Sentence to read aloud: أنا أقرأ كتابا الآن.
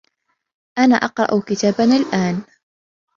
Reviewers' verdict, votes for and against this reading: accepted, 2, 0